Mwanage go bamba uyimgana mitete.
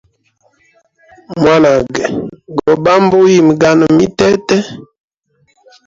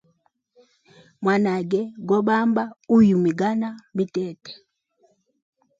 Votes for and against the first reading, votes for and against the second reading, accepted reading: 1, 2, 2, 0, second